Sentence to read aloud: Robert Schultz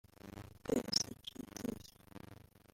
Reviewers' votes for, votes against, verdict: 1, 2, rejected